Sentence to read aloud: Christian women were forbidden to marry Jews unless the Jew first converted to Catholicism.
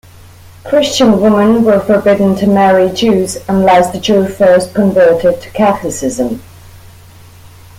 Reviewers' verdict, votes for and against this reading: rejected, 0, 2